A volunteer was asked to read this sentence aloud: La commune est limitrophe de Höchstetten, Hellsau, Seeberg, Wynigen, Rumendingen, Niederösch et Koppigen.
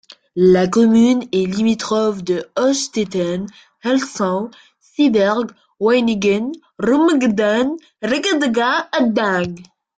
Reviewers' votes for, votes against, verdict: 0, 2, rejected